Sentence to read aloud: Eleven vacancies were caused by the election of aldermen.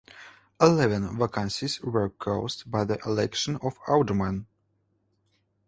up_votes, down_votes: 2, 0